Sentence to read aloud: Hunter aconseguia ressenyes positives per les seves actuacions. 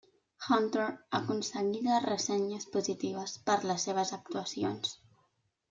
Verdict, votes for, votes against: rejected, 0, 2